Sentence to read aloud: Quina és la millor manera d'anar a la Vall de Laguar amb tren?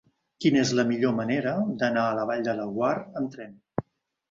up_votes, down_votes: 2, 1